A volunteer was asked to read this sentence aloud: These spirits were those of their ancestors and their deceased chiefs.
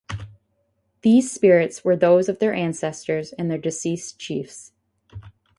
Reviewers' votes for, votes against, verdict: 4, 0, accepted